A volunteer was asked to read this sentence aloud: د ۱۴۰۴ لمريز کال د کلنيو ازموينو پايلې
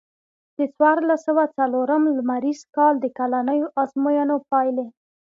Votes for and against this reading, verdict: 0, 2, rejected